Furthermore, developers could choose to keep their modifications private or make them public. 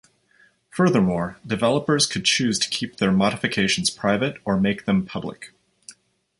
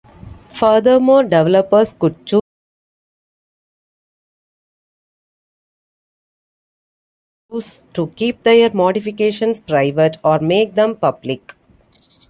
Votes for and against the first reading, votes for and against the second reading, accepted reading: 2, 0, 0, 2, first